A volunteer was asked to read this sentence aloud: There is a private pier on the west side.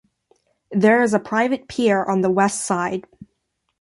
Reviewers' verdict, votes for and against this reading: accepted, 2, 0